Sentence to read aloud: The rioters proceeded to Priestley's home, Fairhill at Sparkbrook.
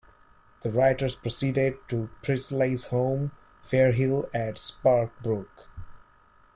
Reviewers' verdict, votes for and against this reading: rejected, 1, 2